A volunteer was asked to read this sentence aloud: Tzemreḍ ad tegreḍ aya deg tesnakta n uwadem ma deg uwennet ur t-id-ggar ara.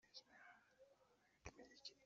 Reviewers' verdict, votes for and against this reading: rejected, 0, 2